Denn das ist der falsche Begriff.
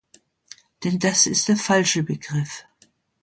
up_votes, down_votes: 2, 0